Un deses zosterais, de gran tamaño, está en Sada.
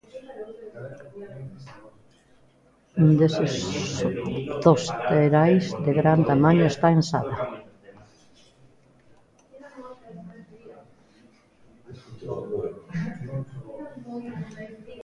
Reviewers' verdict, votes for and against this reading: rejected, 0, 2